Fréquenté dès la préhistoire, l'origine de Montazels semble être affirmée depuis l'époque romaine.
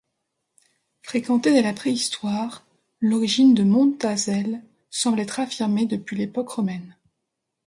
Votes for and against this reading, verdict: 2, 0, accepted